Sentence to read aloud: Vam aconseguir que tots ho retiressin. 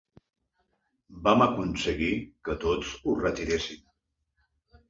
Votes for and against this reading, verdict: 2, 0, accepted